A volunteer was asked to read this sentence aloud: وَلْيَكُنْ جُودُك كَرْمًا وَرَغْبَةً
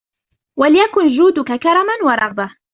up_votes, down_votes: 2, 0